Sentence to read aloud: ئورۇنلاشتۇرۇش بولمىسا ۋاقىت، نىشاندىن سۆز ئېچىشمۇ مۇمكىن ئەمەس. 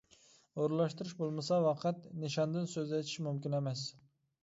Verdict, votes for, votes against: rejected, 1, 2